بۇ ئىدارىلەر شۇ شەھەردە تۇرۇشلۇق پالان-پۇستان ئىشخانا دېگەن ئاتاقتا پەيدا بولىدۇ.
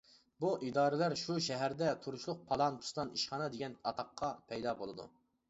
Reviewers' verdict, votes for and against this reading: rejected, 1, 2